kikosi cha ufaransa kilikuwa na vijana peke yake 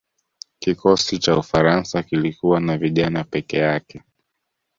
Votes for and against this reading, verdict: 2, 0, accepted